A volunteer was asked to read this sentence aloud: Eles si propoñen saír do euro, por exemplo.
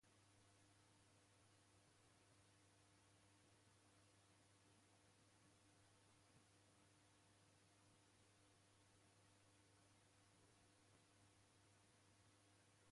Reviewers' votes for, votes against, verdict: 0, 2, rejected